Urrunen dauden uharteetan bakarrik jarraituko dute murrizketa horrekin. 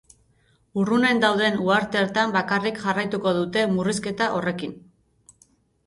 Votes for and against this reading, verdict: 0, 2, rejected